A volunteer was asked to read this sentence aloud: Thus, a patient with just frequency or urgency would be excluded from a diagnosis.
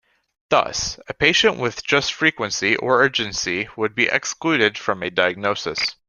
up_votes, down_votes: 2, 0